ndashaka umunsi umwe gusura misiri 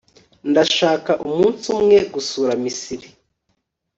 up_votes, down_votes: 2, 0